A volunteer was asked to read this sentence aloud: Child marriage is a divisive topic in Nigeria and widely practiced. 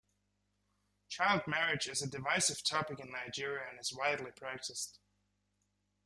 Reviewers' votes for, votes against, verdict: 0, 2, rejected